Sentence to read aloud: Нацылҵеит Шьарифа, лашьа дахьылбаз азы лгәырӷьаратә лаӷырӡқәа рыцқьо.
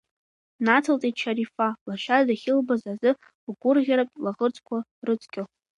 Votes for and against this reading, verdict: 2, 1, accepted